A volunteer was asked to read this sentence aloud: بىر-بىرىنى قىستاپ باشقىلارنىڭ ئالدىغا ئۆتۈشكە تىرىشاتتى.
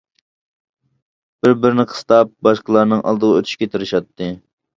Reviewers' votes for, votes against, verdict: 2, 0, accepted